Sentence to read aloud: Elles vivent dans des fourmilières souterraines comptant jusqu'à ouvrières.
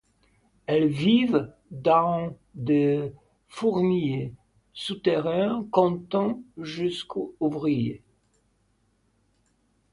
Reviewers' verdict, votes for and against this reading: rejected, 1, 2